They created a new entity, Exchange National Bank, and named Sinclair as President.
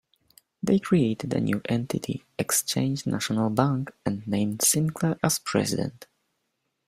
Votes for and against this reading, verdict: 2, 0, accepted